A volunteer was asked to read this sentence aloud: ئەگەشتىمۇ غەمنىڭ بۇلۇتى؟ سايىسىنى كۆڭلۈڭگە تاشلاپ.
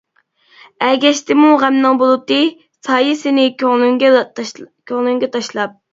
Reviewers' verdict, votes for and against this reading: rejected, 1, 2